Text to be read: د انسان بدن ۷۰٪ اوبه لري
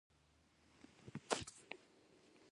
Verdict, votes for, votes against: rejected, 0, 2